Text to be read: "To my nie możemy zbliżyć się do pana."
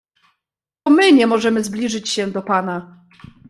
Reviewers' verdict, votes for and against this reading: rejected, 0, 2